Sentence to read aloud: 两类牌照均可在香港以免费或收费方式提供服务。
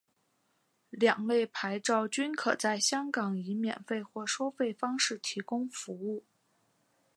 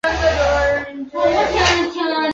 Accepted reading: first